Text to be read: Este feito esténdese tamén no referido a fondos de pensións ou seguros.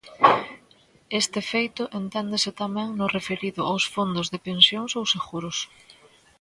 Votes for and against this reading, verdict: 0, 2, rejected